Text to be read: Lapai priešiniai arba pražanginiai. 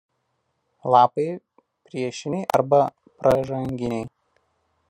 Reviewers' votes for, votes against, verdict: 1, 2, rejected